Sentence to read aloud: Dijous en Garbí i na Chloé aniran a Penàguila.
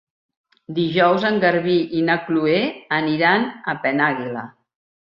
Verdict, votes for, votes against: accepted, 2, 0